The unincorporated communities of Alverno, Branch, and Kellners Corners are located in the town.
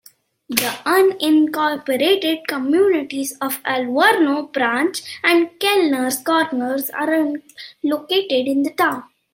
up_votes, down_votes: 2, 0